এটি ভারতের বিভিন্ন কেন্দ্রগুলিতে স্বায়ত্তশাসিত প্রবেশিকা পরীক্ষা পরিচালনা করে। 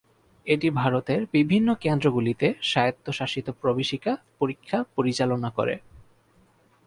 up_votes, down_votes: 0, 2